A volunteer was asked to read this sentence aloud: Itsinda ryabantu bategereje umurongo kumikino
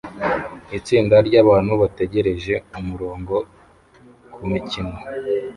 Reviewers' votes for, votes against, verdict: 0, 2, rejected